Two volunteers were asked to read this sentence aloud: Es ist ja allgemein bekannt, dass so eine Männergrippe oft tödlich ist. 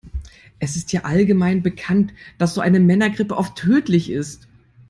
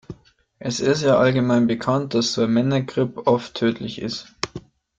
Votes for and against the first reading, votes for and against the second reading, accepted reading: 2, 0, 1, 2, first